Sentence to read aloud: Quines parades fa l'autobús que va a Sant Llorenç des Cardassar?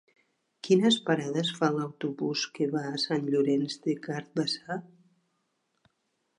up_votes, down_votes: 0, 2